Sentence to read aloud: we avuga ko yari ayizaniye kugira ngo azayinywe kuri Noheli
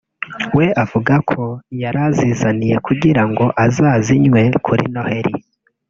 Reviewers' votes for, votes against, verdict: 2, 1, accepted